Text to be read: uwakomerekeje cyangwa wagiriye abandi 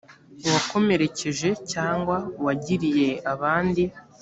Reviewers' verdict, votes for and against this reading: accepted, 2, 0